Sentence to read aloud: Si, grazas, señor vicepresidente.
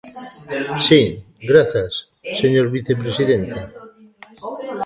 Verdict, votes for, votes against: rejected, 0, 2